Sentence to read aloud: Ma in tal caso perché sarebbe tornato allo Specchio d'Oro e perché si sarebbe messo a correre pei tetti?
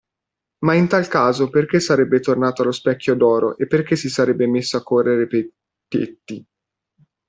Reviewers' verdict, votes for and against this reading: rejected, 1, 2